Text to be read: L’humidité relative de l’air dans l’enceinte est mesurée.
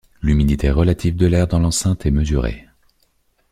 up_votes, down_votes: 2, 0